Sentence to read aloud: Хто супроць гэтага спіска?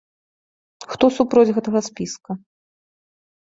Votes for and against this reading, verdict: 2, 1, accepted